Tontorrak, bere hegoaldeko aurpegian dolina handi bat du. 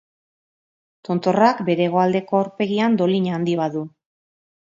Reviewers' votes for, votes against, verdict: 2, 0, accepted